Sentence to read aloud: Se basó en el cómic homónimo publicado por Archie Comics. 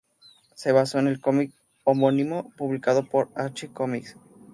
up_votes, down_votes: 2, 0